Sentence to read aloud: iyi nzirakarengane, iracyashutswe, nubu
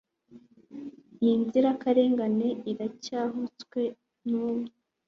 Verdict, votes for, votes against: accepted, 2, 0